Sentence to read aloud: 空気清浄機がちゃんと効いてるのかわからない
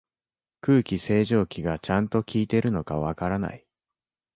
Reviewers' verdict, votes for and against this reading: rejected, 1, 3